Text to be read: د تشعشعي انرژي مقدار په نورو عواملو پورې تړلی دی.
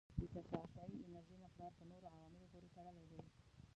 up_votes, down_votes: 0, 2